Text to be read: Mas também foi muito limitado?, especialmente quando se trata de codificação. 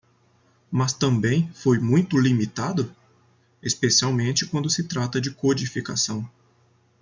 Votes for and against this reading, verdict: 2, 0, accepted